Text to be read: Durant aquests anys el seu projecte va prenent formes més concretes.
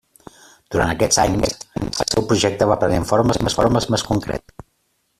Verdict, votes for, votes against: rejected, 0, 2